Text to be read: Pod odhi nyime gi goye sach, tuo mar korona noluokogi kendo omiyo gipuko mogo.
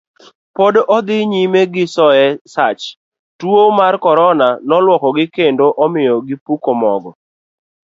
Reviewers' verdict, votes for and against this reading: rejected, 1, 2